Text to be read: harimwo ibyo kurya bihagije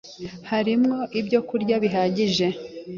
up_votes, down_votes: 2, 0